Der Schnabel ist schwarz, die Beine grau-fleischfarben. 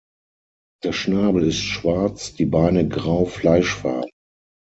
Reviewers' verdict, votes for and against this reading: rejected, 3, 6